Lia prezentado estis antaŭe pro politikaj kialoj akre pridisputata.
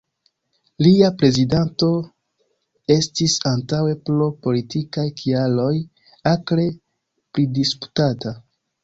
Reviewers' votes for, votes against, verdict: 0, 2, rejected